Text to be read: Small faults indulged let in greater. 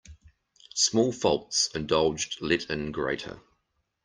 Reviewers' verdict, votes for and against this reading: accepted, 2, 0